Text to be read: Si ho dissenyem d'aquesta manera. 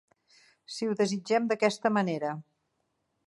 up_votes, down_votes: 0, 3